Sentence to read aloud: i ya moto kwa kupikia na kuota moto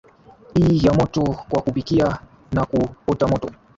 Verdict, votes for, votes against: accepted, 2, 0